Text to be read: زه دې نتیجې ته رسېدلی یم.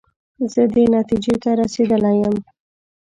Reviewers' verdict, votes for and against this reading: accepted, 2, 0